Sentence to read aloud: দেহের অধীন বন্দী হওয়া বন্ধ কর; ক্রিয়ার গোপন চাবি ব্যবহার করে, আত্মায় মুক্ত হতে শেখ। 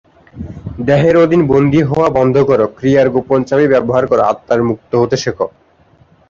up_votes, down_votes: 6, 6